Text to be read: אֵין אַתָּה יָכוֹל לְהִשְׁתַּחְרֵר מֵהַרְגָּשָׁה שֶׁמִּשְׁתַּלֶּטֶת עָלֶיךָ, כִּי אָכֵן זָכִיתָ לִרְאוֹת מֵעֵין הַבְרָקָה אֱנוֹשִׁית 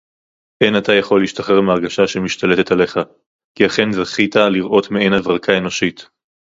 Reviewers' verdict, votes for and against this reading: accepted, 2, 0